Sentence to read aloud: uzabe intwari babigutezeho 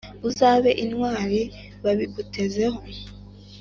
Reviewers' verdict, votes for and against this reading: accepted, 2, 0